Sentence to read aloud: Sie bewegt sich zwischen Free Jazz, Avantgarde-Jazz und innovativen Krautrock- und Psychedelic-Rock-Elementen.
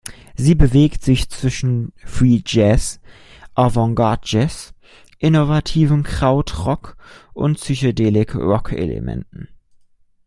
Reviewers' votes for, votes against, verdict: 0, 3, rejected